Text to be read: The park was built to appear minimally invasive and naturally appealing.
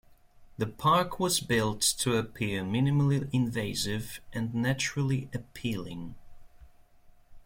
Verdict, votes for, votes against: accepted, 2, 0